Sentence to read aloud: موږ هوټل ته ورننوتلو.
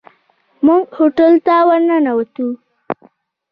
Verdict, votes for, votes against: rejected, 1, 2